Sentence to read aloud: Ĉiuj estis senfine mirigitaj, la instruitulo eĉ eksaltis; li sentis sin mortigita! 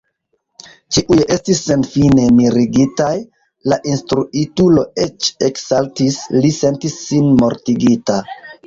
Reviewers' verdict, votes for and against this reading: accepted, 2, 1